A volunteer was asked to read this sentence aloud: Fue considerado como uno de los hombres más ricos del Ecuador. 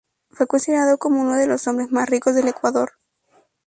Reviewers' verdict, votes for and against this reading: rejected, 0, 2